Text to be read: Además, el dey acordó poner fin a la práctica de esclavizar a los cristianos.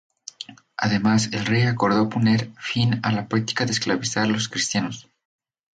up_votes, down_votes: 0, 2